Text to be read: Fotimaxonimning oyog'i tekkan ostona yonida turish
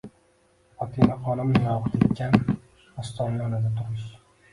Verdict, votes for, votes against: rejected, 0, 2